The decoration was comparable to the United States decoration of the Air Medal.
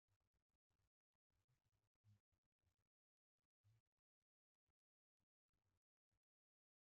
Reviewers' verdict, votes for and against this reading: rejected, 0, 2